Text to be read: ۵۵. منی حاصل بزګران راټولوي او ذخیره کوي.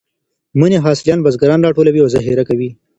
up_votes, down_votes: 0, 2